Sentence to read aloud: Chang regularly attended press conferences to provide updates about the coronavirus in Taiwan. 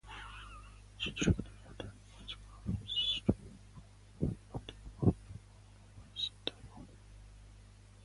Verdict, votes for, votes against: rejected, 0, 2